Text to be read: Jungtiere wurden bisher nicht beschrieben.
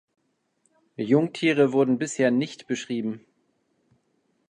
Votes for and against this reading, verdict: 2, 0, accepted